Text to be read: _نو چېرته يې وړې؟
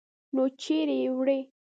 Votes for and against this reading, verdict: 1, 2, rejected